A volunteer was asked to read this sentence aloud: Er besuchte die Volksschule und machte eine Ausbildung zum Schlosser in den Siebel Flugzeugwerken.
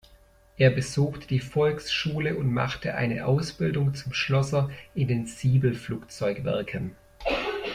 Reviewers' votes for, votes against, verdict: 2, 0, accepted